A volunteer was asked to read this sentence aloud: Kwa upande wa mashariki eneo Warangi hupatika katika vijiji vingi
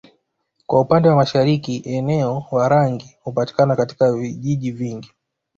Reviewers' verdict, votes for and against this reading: accepted, 2, 1